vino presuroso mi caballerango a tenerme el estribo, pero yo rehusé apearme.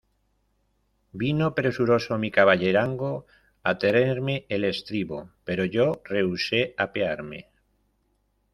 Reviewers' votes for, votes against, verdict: 0, 2, rejected